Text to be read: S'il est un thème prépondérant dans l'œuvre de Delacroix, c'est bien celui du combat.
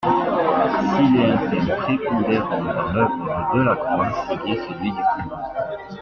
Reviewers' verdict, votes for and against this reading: rejected, 1, 2